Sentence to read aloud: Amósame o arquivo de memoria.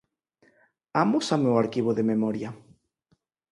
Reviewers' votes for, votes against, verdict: 6, 0, accepted